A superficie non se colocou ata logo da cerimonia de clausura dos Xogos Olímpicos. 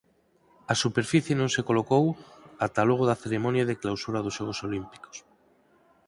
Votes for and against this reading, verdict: 4, 2, accepted